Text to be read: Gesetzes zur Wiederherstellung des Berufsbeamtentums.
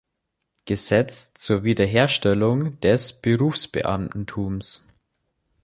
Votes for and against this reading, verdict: 1, 4, rejected